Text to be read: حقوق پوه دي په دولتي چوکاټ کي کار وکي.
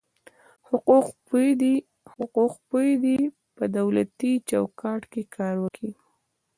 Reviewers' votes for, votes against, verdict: 2, 1, accepted